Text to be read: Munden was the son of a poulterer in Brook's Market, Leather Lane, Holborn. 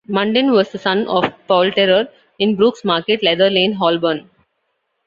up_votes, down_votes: 2, 0